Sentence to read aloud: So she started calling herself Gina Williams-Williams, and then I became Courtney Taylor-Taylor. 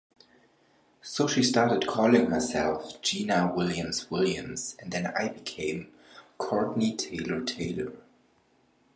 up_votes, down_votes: 2, 1